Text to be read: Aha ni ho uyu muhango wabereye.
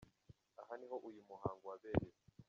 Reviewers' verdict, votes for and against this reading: rejected, 1, 2